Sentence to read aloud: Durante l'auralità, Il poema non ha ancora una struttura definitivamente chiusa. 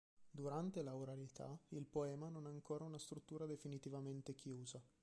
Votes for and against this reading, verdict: 1, 2, rejected